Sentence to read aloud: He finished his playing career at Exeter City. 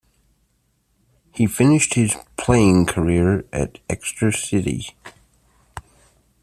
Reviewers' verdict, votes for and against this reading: rejected, 0, 2